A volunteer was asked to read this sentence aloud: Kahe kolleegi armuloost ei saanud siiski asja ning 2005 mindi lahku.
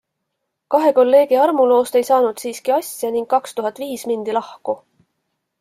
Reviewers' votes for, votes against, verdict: 0, 2, rejected